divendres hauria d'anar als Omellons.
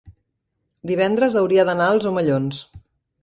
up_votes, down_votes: 2, 0